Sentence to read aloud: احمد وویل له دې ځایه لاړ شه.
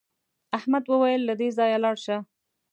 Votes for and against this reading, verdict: 2, 0, accepted